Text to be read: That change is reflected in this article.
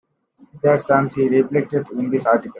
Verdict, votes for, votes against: rejected, 0, 2